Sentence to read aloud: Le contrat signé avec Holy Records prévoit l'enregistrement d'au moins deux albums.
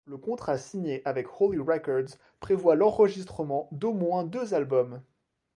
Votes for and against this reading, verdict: 2, 0, accepted